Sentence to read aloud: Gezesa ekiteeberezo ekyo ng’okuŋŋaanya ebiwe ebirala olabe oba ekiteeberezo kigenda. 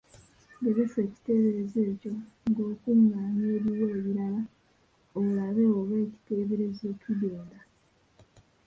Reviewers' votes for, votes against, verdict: 0, 2, rejected